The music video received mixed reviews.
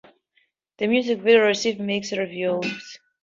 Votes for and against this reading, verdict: 2, 0, accepted